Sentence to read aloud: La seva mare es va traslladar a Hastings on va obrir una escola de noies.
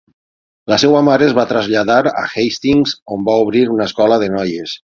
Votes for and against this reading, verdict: 3, 3, rejected